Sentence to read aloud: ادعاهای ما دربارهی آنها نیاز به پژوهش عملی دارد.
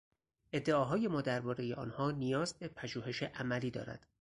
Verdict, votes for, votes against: accepted, 4, 0